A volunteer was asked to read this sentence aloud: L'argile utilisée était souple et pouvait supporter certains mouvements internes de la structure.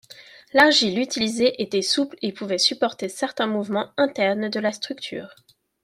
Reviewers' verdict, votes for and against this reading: accepted, 2, 0